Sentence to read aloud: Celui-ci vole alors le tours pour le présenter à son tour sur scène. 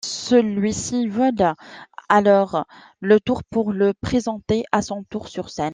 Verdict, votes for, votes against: accepted, 2, 1